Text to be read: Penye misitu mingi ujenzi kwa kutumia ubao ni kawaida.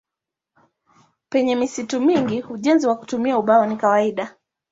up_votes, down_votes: 0, 2